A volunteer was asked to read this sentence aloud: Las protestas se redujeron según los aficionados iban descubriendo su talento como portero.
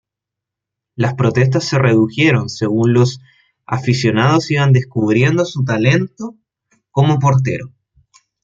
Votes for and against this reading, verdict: 1, 2, rejected